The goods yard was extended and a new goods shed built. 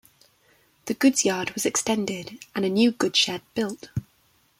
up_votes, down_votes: 2, 1